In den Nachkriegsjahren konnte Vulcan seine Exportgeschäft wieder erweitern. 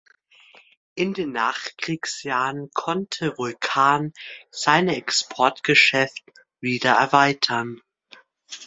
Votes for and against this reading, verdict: 2, 0, accepted